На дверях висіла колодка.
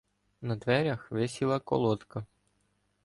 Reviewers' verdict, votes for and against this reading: rejected, 1, 2